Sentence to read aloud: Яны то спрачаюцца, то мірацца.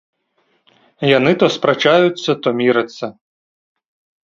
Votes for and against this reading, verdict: 2, 0, accepted